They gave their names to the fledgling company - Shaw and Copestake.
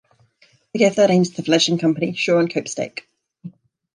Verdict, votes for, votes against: rejected, 1, 2